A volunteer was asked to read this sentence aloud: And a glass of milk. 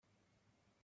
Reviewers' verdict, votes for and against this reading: rejected, 1, 2